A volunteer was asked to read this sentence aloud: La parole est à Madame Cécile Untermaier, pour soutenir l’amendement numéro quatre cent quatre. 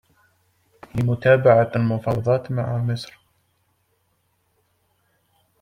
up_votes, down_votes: 0, 2